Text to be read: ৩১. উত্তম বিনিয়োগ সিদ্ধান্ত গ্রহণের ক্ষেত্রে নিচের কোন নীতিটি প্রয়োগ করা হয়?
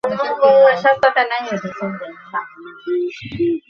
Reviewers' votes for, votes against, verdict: 0, 2, rejected